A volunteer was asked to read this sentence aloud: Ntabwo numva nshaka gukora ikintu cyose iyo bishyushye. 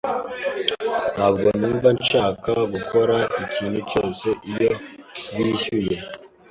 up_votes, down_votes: 1, 2